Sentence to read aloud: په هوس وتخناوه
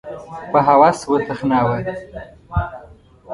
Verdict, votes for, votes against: rejected, 1, 2